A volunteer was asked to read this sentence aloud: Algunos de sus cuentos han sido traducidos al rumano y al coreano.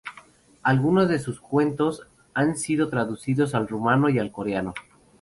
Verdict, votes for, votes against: accepted, 2, 0